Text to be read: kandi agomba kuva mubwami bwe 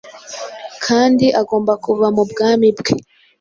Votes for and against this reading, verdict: 2, 0, accepted